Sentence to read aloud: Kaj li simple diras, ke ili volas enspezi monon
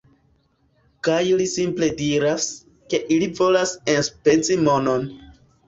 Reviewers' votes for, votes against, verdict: 2, 0, accepted